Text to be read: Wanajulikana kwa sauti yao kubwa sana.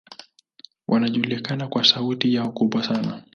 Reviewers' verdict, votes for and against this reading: accepted, 2, 0